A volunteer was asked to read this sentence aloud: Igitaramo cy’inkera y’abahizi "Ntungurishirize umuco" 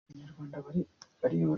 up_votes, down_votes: 0, 2